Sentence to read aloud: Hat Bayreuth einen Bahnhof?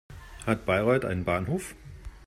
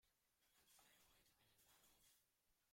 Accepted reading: first